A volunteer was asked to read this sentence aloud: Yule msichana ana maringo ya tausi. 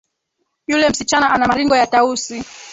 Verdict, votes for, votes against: accepted, 2, 1